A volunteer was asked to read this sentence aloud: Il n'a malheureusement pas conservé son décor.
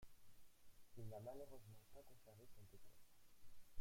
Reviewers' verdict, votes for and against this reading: rejected, 0, 2